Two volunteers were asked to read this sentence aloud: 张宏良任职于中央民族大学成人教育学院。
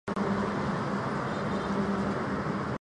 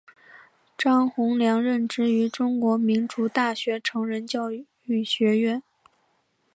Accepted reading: second